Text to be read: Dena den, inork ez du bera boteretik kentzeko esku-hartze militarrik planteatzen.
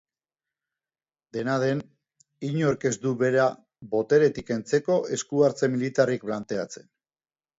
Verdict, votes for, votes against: accepted, 2, 0